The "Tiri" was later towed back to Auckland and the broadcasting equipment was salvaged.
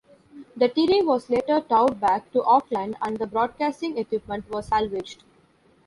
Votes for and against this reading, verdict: 1, 2, rejected